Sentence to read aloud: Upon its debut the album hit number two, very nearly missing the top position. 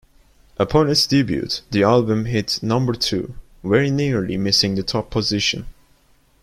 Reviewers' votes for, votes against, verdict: 0, 2, rejected